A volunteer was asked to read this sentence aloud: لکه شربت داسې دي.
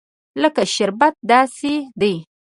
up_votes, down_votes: 2, 0